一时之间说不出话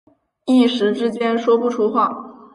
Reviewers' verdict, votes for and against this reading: accepted, 3, 0